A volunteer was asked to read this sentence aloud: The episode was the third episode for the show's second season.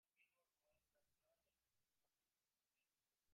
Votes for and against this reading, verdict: 0, 2, rejected